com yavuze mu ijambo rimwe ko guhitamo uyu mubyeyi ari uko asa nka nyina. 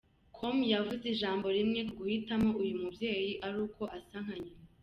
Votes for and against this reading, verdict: 1, 2, rejected